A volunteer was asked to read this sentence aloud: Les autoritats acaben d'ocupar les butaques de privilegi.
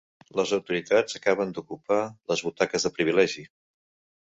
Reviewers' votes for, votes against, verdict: 3, 0, accepted